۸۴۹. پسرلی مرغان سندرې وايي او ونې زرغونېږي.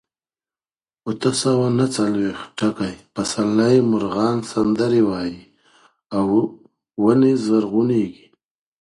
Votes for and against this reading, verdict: 0, 2, rejected